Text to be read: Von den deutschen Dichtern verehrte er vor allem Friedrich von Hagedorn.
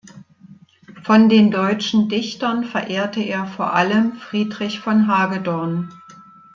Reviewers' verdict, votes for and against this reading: accepted, 2, 0